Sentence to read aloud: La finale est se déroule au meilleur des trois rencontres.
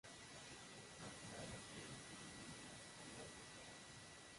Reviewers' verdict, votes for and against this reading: rejected, 0, 2